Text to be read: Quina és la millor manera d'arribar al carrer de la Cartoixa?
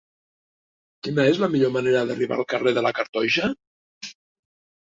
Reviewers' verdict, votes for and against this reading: accepted, 3, 0